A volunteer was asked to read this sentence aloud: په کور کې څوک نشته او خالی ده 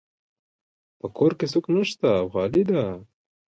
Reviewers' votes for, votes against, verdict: 2, 1, accepted